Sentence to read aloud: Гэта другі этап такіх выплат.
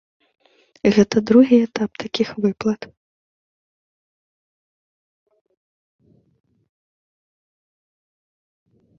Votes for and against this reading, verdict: 2, 0, accepted